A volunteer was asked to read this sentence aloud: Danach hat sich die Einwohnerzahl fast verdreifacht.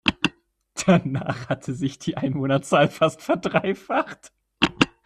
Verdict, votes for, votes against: accepted, 2, 1